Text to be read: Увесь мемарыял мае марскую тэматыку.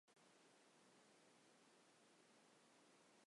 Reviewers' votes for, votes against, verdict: 1, 2, rejected